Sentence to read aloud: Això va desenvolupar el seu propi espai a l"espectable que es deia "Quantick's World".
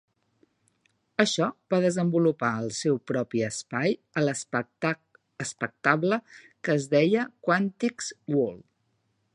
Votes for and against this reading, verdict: 0, 2, rejected